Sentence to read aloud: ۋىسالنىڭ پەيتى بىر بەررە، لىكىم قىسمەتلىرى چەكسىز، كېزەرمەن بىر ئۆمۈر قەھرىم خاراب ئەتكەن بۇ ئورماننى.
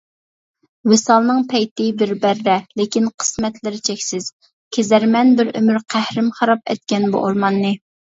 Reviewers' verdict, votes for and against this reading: rejected, 1, 2